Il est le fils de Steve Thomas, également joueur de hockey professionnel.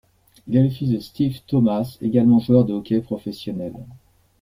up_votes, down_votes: 2, 0